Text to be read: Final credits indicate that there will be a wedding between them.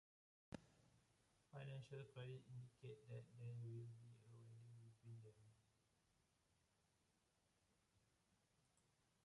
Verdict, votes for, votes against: rejected, 1, 2